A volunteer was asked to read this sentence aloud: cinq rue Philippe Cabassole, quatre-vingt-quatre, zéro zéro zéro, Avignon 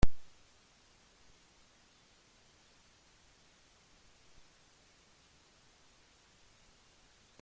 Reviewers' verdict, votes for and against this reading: rejected, 0, 2